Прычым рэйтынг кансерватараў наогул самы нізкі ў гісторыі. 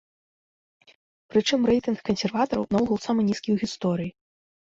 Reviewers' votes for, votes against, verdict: 2, 0, accepted